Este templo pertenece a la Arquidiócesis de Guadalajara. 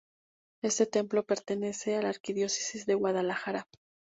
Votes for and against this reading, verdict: 0, 2, rejected